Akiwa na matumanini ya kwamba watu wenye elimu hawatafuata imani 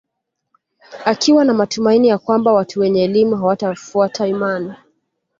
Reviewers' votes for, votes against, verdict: 2, 0, accepted